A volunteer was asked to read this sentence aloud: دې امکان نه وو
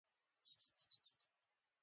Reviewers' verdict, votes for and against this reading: rejected, 1, 2